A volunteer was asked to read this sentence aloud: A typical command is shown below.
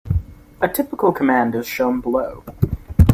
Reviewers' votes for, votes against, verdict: 3, 0, accepted